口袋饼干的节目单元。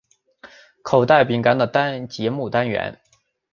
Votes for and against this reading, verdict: 0, 4, rejected